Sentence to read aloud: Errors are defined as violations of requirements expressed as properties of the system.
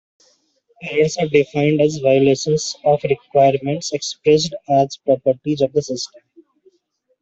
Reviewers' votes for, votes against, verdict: 1, 2, rejected